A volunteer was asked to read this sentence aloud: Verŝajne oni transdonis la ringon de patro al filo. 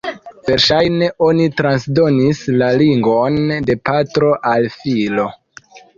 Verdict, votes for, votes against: rejected, 1, 2